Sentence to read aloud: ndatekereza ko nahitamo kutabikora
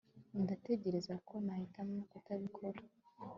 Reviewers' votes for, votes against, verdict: 2, 0, accepted